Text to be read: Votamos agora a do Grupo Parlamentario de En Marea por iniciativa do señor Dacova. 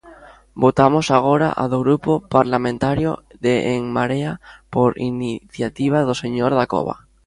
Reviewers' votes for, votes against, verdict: 1, 2, rejected